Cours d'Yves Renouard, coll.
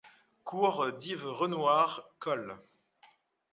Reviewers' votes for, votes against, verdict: 2, 0, accepted